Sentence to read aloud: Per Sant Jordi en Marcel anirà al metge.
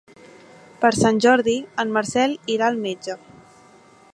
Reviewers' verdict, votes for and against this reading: rejected, 1, 2